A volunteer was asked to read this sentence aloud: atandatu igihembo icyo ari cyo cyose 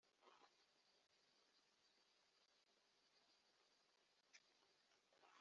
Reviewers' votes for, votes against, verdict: 0, 2, rejected